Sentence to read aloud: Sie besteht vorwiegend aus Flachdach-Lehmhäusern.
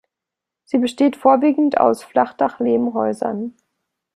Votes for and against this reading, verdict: 2, 0, accepted